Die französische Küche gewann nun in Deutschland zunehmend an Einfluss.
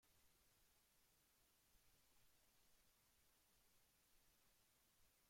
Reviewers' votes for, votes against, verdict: 0, 2, rejected